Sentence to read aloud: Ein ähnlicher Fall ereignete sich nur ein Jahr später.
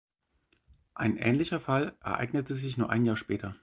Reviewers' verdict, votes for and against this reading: rejected, 2, 4